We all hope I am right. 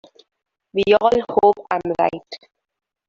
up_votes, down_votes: 0, 2